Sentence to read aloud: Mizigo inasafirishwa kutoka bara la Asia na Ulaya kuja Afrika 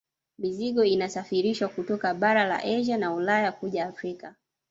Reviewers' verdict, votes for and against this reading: accepted, 2, 1